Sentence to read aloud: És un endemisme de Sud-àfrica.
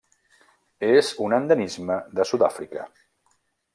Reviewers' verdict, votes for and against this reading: accepted, 2, 0